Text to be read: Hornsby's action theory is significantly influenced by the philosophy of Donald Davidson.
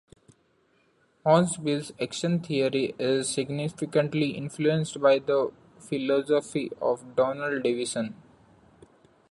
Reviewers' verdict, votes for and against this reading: accepted, 2, 1